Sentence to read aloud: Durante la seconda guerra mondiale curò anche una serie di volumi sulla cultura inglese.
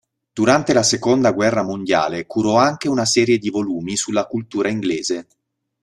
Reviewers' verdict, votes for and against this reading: accepted, 2, 0